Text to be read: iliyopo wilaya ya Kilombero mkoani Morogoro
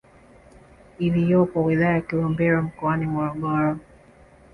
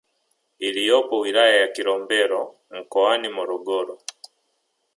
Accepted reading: first